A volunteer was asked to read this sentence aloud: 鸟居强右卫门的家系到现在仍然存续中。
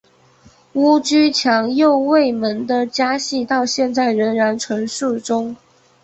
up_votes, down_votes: 1, 2